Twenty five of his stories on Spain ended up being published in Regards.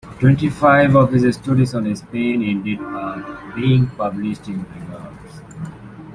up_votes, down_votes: 2, 0